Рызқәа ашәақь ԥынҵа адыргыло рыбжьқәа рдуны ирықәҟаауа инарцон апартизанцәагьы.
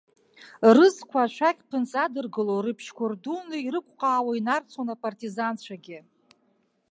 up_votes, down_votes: 2, 0